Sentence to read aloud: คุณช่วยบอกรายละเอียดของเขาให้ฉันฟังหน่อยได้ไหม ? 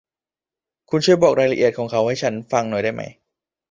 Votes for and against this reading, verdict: 2, 0, accepted